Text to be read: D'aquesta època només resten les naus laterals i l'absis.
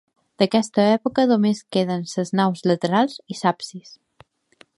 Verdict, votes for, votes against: rejected, 1, 2